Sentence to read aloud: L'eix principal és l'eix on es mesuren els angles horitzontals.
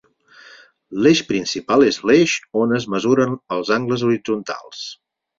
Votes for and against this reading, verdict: 4, 0, accepted